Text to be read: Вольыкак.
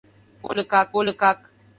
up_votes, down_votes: 0, 2